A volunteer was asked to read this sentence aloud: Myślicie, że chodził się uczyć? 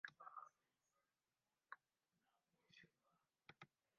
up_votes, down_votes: 0, 2